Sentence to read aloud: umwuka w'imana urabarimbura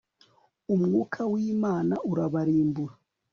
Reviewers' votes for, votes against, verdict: 2, 0, accepted